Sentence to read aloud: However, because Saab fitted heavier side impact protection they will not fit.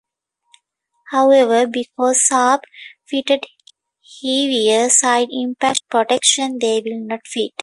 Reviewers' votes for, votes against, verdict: 2, 1, accepted